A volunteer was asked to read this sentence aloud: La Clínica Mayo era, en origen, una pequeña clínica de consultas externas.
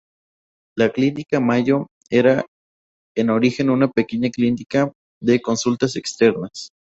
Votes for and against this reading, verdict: 0, 2, rejected